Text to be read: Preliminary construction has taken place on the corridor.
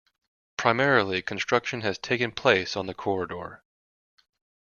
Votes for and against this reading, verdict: 0, 2, rejected